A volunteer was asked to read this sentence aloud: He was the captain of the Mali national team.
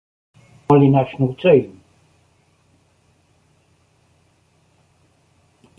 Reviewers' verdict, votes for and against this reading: rejected, 0, 2